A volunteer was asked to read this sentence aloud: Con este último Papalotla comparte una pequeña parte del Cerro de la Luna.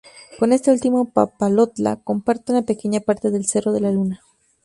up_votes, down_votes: 2, 0